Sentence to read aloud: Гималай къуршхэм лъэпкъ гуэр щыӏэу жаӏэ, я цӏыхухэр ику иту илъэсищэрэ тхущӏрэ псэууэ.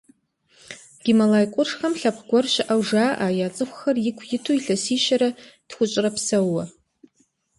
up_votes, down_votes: 2, 0